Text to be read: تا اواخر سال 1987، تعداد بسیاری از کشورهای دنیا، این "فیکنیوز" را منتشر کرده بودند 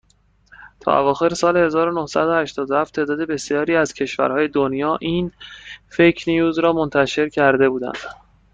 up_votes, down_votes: 0, 2